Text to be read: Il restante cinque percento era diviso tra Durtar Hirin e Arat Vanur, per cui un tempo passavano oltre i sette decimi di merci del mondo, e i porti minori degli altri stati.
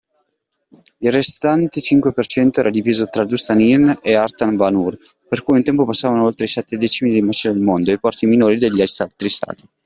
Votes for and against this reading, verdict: 0, 2, rejected